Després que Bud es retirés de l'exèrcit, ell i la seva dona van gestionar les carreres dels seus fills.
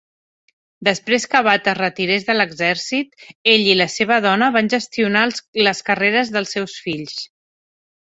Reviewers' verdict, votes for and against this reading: rejected, 2, 3